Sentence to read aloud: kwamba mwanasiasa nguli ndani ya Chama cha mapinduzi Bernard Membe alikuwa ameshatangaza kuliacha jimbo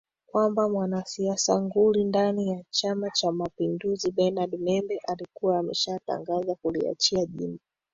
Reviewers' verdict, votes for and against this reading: rejected, 1, 2